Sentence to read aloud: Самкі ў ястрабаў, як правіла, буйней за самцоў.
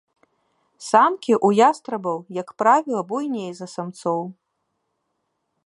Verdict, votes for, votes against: accepted, 3, 1